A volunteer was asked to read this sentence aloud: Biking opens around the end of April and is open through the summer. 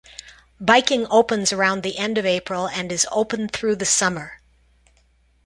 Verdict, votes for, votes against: accepted, 2, 0